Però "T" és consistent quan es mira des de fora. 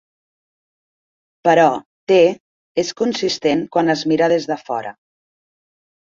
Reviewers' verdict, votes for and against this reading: accepted, 2, 0